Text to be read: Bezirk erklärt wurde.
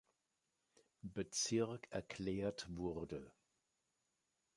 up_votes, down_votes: 2, 0